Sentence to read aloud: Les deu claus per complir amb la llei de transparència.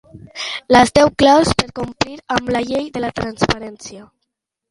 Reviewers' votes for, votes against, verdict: 0, 2, rejected